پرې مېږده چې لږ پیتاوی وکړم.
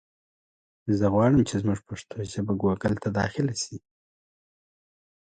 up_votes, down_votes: 0, 2